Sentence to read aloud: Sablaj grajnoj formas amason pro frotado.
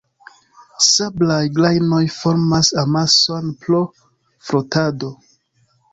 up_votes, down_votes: 2, 1